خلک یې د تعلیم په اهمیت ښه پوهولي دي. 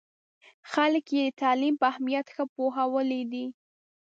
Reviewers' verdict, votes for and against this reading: accepted, 2, 0